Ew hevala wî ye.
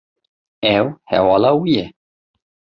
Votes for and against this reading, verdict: 2, 0, accepted